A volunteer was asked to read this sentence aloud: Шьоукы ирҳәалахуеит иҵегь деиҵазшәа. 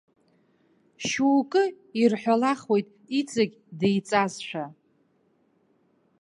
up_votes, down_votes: 2, 1